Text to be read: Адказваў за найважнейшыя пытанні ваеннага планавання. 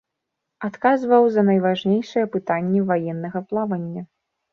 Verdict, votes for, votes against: rejected, 0, 2